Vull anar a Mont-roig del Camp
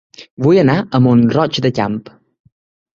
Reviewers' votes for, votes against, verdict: 0, 3, rejected